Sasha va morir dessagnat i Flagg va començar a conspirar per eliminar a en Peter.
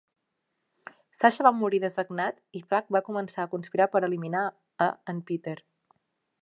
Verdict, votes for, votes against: accepted, 2, 0